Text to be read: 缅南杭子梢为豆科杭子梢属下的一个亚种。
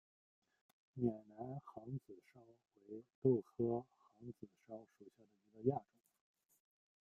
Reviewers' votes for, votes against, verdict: 1, 2, rejected